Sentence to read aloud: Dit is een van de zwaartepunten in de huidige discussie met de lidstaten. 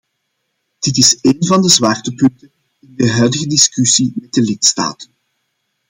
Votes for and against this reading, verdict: 0, 2, rejected